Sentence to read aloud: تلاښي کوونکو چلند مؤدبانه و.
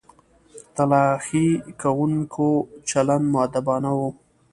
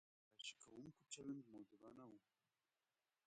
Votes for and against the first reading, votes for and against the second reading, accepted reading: 2, 0, 1, 2, first